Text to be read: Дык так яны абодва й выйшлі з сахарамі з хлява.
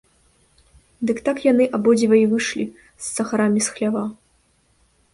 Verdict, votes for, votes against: rejected, 1, 2